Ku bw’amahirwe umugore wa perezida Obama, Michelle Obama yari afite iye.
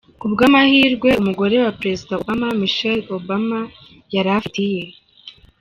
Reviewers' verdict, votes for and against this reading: rejected, 1, 2